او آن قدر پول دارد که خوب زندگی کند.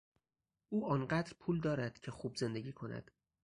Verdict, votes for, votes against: accepted, 2, 0